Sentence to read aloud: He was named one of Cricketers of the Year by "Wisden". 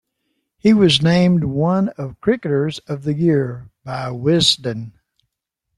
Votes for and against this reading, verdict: 2, 0, accepted